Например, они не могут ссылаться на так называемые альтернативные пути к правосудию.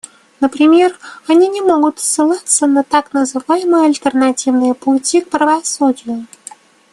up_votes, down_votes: 2, 0